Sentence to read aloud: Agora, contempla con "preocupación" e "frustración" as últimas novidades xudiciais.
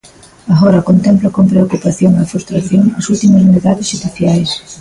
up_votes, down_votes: 1, 2